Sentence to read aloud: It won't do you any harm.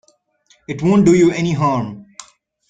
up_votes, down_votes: 2, 0